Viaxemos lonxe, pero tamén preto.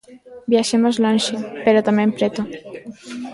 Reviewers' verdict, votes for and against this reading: accepted, 2, 1